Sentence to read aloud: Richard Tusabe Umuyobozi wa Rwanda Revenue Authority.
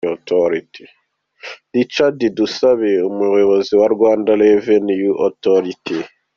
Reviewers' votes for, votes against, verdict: 2, 0, accepted